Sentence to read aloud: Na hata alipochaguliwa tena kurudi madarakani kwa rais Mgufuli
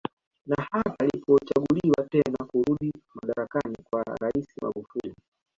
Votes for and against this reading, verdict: 1, 3, rejected